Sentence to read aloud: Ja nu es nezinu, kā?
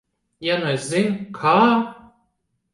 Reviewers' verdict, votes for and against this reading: rejected, 0, 2